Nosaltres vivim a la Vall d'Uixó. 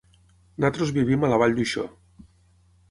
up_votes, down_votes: 3, 6